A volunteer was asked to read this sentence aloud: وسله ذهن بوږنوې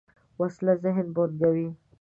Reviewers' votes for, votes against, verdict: 2, 1, accepted